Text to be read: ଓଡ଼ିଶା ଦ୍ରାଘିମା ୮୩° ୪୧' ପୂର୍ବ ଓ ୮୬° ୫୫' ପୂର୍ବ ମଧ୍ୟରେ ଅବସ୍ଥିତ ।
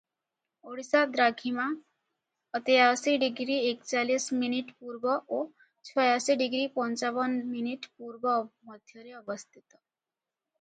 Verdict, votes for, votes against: rejected, 0, 2